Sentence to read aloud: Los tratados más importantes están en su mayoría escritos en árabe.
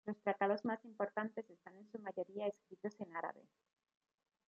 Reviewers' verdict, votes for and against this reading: rejected, 1, 2